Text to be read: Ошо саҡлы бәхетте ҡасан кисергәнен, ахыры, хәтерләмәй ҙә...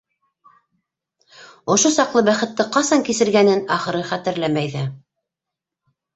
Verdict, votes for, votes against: accepted, 2, 0